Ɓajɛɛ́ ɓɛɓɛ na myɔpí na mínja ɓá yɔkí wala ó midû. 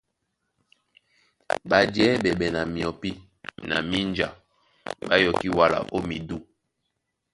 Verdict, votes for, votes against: accepted, 2, 0